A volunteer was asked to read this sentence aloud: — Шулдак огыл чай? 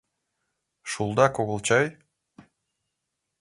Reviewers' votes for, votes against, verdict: 2, 0, accepted